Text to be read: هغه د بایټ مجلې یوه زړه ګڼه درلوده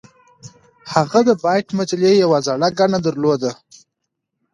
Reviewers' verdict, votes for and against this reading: accepted, 2, 0